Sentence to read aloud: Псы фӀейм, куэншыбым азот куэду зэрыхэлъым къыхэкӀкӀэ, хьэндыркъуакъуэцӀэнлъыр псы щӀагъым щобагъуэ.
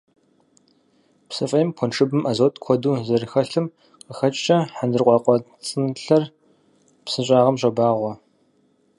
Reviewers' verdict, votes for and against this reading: rejected, 2, 4